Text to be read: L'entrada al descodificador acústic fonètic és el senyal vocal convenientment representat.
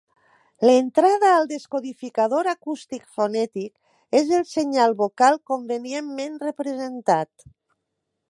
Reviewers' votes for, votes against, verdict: 2, 0, accepted